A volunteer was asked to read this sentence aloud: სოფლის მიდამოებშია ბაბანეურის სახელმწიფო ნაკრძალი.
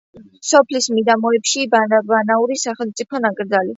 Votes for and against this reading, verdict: 0, 2, rejected